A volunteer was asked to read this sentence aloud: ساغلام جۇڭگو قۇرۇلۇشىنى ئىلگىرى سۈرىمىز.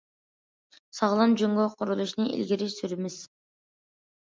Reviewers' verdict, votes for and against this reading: accepted, 2, 0